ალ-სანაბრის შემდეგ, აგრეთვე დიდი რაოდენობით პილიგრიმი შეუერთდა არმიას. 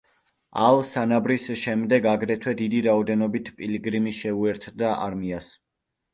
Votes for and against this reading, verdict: 3, 0, accepted